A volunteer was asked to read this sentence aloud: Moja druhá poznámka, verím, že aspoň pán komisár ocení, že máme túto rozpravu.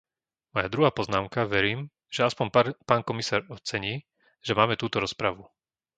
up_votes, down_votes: 0, 2